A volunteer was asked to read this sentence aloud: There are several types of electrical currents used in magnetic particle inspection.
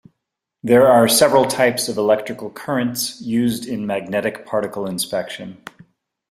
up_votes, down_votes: 2, 0